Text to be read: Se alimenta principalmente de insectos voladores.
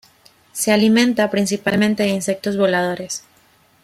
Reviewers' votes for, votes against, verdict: 2, 0, accepted